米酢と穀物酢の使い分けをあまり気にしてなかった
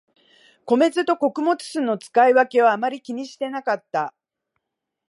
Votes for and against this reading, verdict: 2, 0, accepted